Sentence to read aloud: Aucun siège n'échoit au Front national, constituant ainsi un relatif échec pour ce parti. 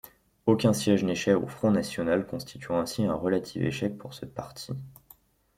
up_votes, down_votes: 0, 2